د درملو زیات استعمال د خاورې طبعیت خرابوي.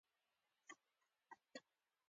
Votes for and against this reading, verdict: 0, 3, rejected